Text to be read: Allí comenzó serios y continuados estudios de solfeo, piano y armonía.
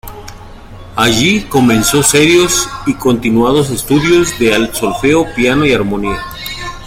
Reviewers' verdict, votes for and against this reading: rejected, 1, 2